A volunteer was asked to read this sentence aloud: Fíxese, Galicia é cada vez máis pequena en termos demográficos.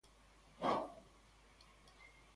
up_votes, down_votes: 0, 2